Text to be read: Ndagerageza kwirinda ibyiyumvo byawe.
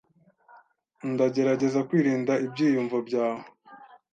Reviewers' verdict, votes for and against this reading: accepted, 2, 0